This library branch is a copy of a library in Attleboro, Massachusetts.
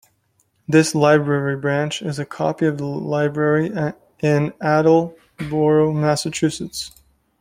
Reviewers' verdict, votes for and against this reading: accepted, 2, 0